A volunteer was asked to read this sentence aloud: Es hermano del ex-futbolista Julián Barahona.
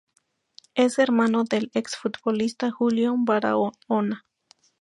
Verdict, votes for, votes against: rejected, 0, 2